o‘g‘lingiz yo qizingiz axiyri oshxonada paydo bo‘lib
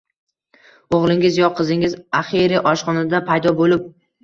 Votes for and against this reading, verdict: 2, 1, accepted